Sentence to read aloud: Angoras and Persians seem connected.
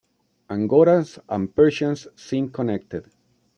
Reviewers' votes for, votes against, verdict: 1, 2, rejected